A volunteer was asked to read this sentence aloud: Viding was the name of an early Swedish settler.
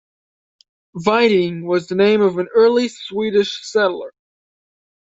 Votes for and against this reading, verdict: 2, 0, accepted